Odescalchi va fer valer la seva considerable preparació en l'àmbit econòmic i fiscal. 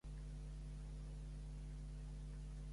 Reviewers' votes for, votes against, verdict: 0, 2, rejected